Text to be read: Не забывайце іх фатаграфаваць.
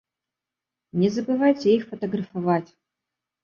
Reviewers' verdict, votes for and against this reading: rejected, 1, 2